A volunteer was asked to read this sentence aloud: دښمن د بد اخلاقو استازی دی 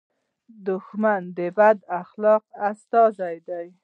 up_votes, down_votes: 1, 2